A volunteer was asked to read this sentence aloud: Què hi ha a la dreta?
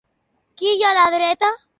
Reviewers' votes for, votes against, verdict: 2, 0, accepted